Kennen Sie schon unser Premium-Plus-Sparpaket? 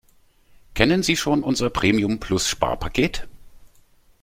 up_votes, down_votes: 2, 0